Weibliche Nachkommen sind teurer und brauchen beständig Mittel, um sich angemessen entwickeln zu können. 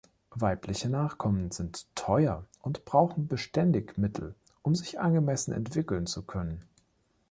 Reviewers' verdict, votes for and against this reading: rejected, 0, 2